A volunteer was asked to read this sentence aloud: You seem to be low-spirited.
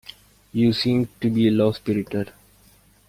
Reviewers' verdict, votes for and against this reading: accepted, 2, 0